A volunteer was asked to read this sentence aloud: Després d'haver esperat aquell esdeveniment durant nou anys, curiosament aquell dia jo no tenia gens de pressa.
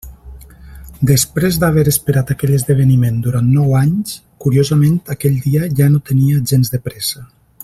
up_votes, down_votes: 0, 2